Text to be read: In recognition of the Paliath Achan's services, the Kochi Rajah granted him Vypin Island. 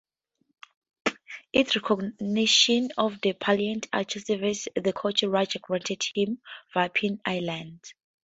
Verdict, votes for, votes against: rejected, 0, 2